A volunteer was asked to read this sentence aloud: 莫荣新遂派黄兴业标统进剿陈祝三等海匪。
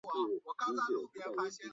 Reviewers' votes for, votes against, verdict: 2, 3, rejected